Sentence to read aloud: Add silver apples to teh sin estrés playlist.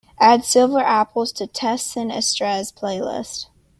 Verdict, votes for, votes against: accepted, 2, 0